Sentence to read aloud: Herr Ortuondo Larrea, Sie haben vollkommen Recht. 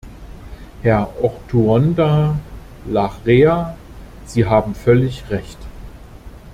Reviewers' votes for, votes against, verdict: 0, 2, rejected